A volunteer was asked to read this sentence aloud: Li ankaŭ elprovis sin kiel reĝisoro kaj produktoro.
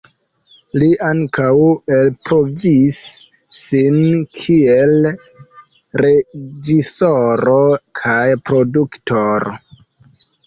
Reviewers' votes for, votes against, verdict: 2, 3, rejected